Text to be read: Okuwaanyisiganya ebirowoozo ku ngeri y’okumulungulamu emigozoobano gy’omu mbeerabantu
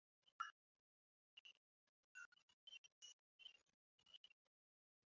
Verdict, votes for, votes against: rejected, 0, 2